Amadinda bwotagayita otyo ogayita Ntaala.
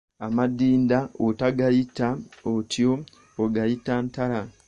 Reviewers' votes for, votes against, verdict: 1, 2, rejected